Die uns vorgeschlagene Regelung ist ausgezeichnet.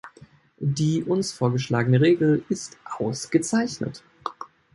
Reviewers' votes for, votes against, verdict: 0, 2, rejected